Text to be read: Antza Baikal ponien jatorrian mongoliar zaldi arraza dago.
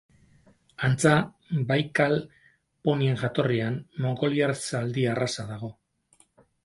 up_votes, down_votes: 6, 0